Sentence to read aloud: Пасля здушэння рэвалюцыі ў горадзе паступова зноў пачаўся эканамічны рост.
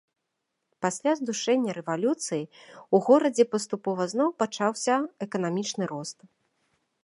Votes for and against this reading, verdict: 0, 2, rejected